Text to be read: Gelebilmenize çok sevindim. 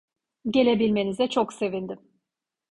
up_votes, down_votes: 2, 0